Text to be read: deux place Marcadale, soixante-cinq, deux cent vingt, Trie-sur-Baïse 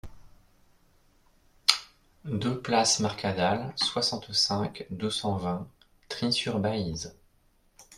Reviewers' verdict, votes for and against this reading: accepted, 2, 0